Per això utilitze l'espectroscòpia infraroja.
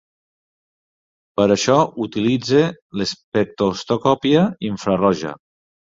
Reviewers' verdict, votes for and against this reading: rejected, 1, 2